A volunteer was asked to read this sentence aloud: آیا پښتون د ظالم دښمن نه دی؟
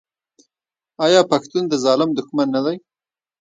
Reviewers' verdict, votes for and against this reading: accepted, 2, 0